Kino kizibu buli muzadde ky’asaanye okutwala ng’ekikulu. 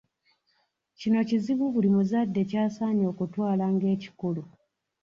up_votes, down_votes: 1, 2